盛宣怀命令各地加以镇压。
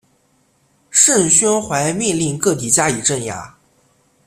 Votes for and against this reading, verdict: 2, 0, accepted